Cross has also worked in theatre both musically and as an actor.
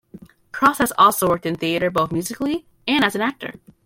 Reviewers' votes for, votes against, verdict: 2, 1, accepted